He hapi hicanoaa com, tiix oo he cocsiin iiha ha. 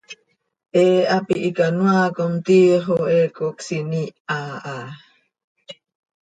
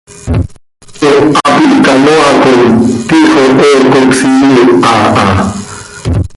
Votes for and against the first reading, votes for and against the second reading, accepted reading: 2, 0, 1, 2, first